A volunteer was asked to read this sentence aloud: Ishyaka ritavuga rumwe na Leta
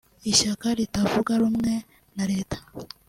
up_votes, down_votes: 2, 0